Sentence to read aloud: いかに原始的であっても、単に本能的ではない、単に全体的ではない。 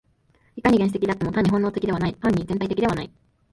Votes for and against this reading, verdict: 1, 2, rejected